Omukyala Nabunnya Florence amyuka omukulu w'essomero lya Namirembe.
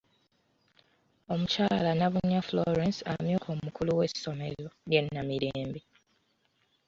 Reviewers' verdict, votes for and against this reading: accepted, 2, 1